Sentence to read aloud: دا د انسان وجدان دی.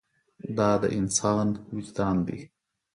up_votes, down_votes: 4, 0